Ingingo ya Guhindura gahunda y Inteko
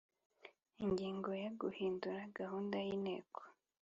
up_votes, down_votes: 2, 0